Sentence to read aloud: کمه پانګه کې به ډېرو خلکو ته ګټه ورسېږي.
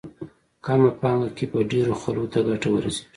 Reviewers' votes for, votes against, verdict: 2, 0, accepted